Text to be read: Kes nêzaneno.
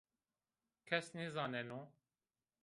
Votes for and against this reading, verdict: 2, 0, accepted